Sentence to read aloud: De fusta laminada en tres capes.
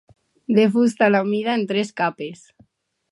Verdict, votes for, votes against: rejected, 0, 2